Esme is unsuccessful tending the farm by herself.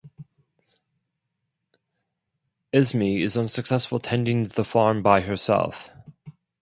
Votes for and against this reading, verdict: 4, 0, accepted